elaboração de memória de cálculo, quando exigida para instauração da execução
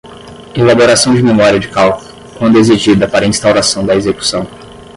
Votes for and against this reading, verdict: 0, 5, rejected